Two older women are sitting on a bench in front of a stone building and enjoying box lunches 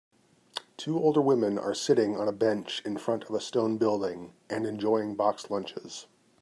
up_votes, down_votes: 3, 0